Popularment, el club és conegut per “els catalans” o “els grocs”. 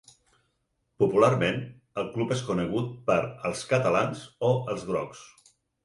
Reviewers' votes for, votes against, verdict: 6, 0, accepted